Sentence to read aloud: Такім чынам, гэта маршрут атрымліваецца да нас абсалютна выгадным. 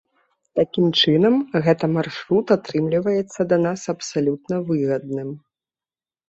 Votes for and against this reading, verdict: 2, 0, accepted